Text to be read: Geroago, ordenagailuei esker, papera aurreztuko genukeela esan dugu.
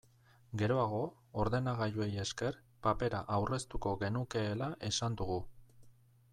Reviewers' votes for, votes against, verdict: 2, 0, accepted